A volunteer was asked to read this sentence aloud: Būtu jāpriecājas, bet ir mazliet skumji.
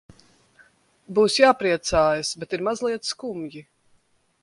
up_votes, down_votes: 0, 2